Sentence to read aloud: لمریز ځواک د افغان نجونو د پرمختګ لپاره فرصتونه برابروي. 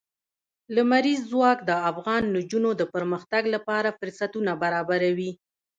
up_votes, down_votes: 1, 2